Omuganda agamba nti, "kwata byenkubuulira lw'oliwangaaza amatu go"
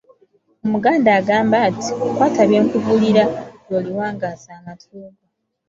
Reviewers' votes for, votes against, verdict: 2, 0, accepted